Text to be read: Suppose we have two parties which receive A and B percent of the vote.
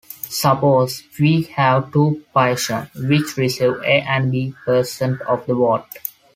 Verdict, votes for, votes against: rejected, 1, 2